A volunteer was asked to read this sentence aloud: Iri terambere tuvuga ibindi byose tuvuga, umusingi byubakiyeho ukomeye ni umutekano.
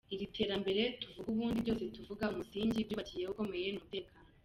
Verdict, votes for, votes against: rejected, 1, 2